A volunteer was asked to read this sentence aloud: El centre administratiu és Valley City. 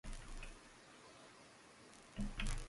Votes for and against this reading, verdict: 0, 2, rejected